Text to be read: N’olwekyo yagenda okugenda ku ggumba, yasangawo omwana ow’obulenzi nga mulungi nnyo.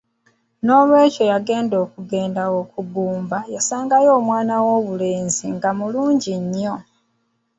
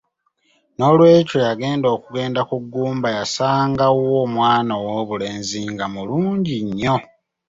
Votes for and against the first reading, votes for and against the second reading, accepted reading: 2, 1, 1, 2, first